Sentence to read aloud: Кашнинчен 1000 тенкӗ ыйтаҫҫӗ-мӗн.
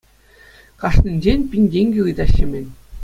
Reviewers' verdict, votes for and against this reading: rejected, 0, 2